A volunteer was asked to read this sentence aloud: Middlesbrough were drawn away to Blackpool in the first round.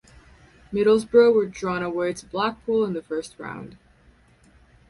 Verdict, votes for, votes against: accepted, 4, 0